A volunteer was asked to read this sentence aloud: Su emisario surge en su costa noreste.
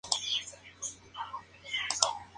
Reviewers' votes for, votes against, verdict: 0, 2, rejected